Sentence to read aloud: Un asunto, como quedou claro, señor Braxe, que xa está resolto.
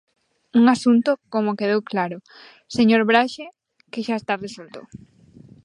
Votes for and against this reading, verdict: 2, 1, accepted